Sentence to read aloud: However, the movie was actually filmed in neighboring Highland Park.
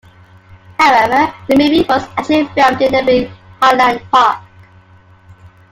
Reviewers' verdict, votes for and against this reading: rejected, 1, 2